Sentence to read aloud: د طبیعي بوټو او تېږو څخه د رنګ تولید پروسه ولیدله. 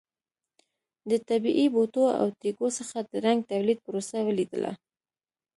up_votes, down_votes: 2, 0